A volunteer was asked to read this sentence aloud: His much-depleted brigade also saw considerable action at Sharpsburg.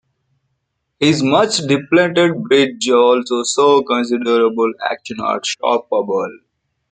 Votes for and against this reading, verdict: 0, 3, rejected